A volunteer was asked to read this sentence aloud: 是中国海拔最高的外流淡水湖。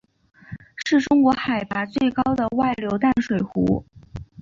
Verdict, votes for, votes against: accepted, 2, 0